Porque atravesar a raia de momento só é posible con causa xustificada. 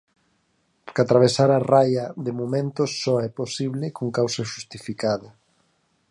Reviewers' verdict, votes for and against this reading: rejected, 0, 4